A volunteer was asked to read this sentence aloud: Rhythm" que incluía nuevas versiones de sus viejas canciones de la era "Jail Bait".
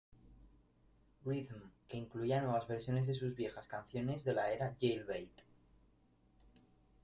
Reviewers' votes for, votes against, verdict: 2, 1, accepted